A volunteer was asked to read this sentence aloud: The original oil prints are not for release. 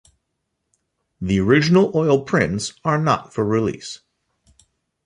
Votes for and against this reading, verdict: 2, 0, accepted